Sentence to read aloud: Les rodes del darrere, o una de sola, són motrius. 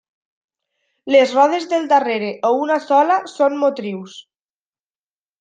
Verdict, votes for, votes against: rejected, 0, 2